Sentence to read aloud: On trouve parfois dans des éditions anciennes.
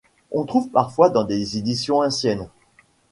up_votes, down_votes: 2, 1